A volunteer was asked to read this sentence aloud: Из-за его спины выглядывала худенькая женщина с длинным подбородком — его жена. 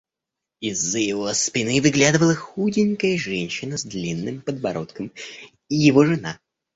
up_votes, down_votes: 3, 1